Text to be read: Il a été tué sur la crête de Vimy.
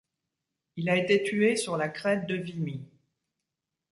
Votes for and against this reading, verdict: 1, 2, rejected